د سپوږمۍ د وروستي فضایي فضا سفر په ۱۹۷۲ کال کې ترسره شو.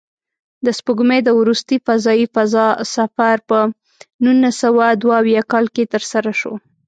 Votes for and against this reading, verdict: 0, 2, rejected